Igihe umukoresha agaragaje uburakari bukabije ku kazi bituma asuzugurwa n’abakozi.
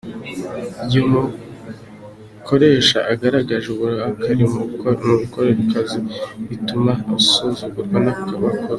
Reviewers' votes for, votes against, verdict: 1, 2, rejected